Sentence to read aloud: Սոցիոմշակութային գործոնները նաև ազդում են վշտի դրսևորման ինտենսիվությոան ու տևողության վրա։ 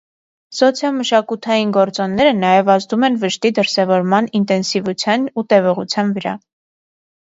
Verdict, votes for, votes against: accepted, 2, 0